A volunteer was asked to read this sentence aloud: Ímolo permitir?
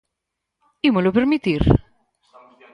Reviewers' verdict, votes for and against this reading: rejected, 2, 4